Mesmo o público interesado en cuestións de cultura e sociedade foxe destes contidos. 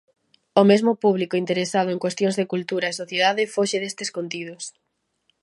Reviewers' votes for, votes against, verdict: 1, 2, rejected